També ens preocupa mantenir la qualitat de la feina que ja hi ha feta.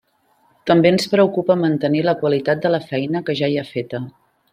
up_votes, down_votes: 3, 0